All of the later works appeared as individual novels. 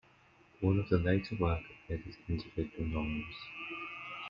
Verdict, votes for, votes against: rejected, 1, 2